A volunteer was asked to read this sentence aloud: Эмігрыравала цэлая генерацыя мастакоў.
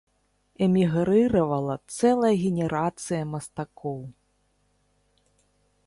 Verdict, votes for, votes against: accepted, 2, 0